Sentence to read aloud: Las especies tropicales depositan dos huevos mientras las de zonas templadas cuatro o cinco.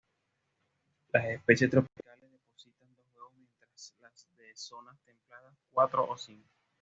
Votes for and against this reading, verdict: 1, 2, rejected